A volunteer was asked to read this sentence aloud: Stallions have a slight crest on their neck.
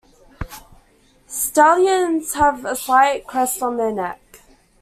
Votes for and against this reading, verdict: 2, 0, accepted